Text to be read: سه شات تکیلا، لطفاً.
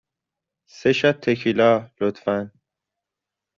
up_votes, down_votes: 2, 0